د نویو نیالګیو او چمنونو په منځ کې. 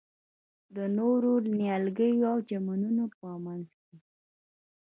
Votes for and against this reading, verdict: 1, 2, rejected